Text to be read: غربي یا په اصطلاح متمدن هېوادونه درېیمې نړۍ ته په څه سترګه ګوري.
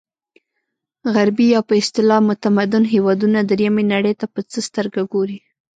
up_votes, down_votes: 1, 2